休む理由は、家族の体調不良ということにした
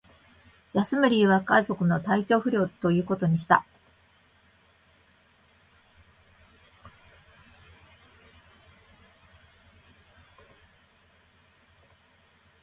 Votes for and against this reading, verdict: 1, 2, rejected